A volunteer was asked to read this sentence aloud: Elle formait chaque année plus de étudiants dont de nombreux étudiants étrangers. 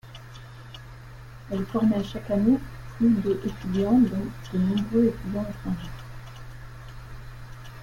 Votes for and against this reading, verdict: 0, 2, rejected